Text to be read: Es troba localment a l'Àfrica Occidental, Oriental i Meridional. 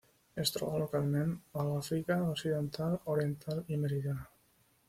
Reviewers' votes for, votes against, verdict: 2, 1, accepted